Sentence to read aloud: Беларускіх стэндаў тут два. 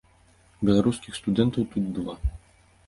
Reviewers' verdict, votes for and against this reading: rejected, 0, 2